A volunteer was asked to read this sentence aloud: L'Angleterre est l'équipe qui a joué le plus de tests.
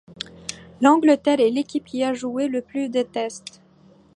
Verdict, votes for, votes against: accepted, 2, 0